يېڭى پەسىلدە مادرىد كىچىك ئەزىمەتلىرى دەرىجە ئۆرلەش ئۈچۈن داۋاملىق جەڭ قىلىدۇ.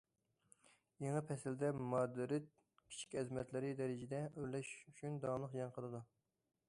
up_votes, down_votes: 1, 2